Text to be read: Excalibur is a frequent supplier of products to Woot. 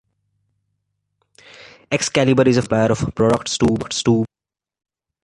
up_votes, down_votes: 1, 2